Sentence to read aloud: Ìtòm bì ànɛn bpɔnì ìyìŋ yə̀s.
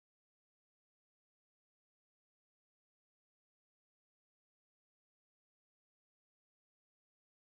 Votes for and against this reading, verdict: 1, 2, rejected